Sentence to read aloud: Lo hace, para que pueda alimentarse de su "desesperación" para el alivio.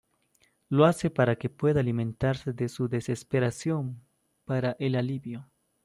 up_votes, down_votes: 2, 0